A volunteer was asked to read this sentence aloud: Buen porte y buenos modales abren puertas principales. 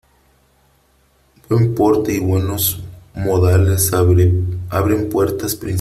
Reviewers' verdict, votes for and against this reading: rejected, 0, 3